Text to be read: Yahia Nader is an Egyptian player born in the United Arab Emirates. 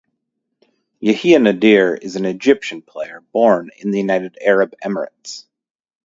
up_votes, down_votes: 0, 2